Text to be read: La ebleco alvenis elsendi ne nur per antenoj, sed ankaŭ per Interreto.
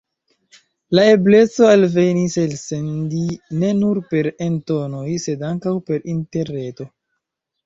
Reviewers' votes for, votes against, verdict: 0, 2, rejected